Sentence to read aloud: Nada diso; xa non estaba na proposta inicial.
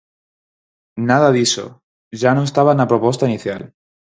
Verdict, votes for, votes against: rejected, 2, 4